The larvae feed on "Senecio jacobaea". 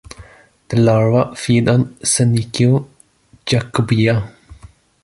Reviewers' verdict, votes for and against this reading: rejected, 0, 2